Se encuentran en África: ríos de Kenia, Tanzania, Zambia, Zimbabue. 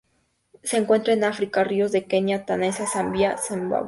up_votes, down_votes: 0, 2